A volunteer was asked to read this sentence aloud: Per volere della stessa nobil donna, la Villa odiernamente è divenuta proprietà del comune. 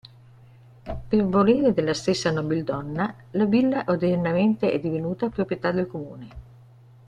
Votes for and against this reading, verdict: 1, 2, rejected